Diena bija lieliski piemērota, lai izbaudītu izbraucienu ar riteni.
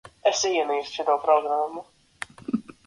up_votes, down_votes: 0, 2